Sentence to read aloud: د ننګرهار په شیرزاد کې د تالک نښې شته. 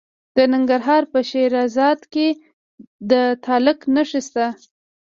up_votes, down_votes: 0, 2